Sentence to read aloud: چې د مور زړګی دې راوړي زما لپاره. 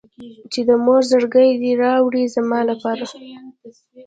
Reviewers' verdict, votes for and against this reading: accepted, 2, 1